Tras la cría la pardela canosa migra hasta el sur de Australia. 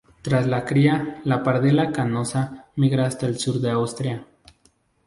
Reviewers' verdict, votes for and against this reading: rejected, 0, 2